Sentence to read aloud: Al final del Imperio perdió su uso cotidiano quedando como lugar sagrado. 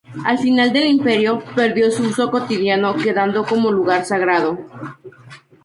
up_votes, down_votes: 2, 0